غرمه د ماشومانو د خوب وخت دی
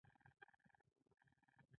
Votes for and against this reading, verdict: 1, 2, rejected